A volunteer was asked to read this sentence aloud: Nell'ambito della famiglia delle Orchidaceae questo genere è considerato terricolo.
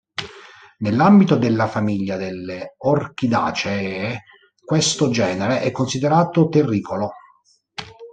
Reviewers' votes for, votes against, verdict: 1, 3, rejected